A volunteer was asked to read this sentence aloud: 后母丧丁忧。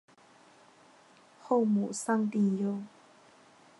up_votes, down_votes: 1, 2